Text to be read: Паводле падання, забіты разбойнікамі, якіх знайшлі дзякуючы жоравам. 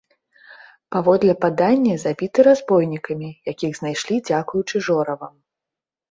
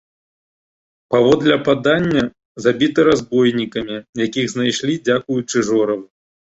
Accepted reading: first